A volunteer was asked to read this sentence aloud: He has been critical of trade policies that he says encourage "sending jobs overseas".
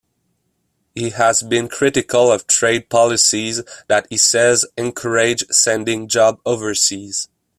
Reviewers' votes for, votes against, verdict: 0, 2, rejected